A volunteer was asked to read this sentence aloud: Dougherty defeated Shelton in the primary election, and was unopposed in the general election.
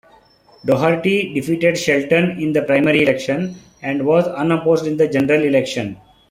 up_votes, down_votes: 2, 0